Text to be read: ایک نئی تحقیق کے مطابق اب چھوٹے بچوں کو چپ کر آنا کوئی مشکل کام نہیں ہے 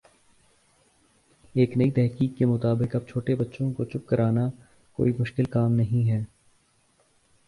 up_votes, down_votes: 2, 1